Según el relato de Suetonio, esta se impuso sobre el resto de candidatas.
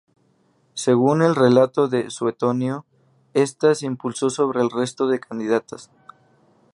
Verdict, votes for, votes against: rejected, 0, 2